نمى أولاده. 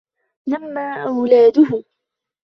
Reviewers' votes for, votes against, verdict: 1, 2, rejected